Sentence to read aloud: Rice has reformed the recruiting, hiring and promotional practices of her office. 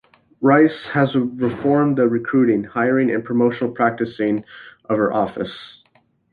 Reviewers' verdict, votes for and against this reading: rejected, 0, 2